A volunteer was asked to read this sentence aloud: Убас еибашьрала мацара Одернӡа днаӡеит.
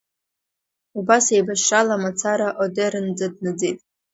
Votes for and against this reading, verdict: 2, 0, accepted